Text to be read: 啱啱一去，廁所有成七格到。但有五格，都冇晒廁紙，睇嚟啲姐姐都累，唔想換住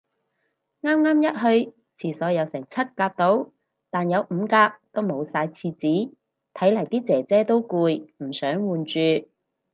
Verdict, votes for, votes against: rejected, 0, 4